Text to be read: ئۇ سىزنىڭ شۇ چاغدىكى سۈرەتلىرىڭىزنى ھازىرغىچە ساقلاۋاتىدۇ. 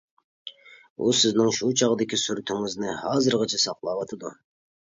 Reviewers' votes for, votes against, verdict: 0, 2, rejected